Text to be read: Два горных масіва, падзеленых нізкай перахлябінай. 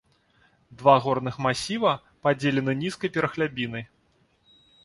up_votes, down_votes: 2, 1